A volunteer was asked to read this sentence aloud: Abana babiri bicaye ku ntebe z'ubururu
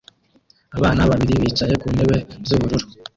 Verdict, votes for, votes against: rejected, 0, 2